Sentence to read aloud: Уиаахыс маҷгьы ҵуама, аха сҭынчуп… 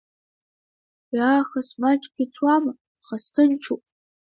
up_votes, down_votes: 1, 2